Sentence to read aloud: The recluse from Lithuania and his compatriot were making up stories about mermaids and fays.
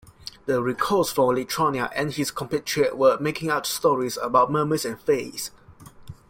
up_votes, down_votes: 0, 2